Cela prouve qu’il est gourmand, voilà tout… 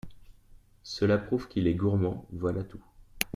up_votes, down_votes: 2, 0